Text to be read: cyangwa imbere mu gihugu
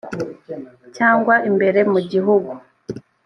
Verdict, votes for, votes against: accepted, 2, 0